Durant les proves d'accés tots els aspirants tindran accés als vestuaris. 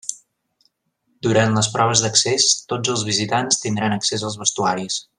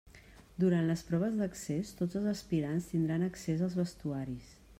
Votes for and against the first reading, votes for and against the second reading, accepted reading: 0, 2, 3, 0, second